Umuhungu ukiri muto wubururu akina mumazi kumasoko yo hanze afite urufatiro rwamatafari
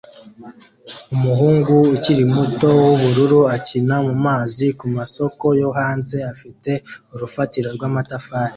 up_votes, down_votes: 2, 0